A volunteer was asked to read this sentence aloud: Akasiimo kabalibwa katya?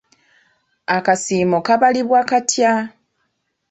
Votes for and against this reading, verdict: 0, 2, rejected